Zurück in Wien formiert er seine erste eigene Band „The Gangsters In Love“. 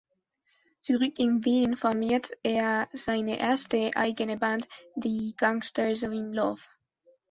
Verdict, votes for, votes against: accepted, 2, 0